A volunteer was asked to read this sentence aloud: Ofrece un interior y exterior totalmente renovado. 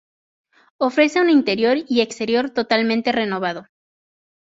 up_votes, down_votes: 2, 0